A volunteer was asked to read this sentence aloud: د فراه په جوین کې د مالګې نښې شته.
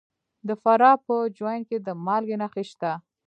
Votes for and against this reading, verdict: 2, 1, accepted